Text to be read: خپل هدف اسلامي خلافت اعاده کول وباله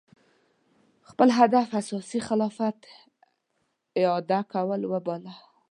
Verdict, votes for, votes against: rejected, 1, 2